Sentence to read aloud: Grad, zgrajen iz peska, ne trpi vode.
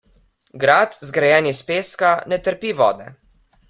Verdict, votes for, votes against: accepted, 2, 0